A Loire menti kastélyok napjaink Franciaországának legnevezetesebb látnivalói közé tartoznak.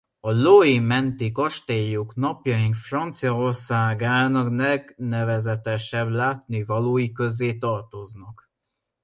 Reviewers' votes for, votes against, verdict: 0, 2, rejected